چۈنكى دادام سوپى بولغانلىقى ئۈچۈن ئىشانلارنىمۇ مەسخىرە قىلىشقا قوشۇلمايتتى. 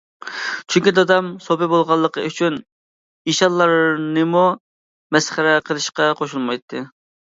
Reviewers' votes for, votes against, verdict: 2, 0, accepted